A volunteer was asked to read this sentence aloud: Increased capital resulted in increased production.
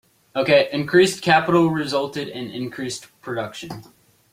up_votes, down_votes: 0, 2